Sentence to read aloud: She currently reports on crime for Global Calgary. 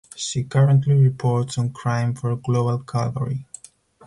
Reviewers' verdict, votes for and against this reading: rejected, 0, 2